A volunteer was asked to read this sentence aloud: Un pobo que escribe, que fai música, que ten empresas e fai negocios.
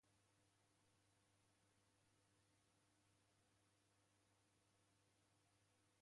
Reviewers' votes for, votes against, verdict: 0, 2, rejected